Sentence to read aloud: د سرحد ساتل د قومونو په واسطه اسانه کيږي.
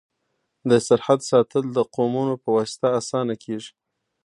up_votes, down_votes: 2, 0